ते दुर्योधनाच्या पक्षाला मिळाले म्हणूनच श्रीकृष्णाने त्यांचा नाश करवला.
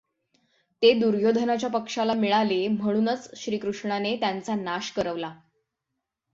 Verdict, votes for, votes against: accepted, 6, 0